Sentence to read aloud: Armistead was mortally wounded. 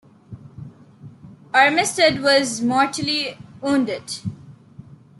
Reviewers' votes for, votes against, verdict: 2, 0, accepted